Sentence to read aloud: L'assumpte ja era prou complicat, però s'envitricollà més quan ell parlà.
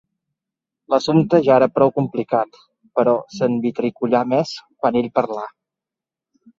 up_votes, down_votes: 2, 1